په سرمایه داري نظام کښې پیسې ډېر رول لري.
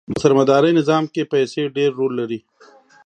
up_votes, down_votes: 2, 0